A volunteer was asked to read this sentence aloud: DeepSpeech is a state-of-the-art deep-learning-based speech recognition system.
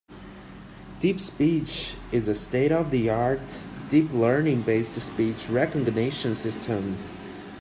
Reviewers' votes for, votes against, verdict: 3, 0, accepted